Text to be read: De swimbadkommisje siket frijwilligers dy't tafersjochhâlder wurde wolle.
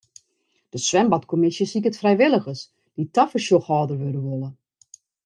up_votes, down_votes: 0, 2